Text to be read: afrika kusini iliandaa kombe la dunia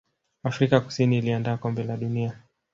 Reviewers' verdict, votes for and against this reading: accepted, 2, 1